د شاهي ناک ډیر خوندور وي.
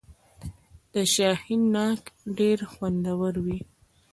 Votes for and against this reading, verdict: 0, 2, rejected